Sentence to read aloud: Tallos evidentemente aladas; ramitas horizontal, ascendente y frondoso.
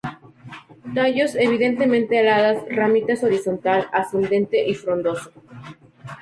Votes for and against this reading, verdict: 2, 0, accepted